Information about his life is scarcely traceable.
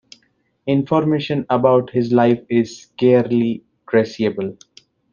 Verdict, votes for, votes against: rejected, 0, 2